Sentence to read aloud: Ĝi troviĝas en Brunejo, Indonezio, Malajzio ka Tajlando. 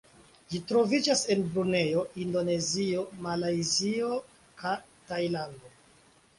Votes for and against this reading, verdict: 3, 0, accepted